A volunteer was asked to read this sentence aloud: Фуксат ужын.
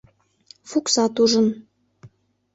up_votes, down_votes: 2, 0